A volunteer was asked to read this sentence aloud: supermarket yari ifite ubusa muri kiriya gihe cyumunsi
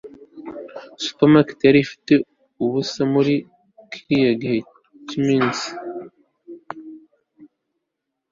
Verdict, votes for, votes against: rejected, 1, 2